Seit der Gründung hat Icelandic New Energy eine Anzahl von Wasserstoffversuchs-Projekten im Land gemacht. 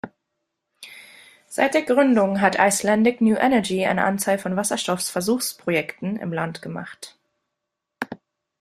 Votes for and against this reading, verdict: 0, 2, rejected